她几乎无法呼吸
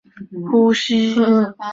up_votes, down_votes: 0, 2